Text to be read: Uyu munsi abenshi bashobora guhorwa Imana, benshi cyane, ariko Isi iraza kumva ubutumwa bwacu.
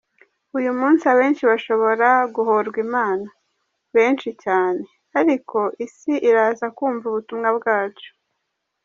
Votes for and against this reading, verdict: 2, 0, accepted